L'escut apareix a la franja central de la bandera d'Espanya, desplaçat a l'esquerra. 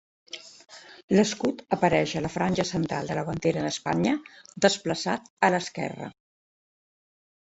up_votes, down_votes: 2, 0